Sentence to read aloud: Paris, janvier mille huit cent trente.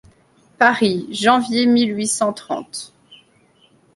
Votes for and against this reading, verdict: 2, 0, accepted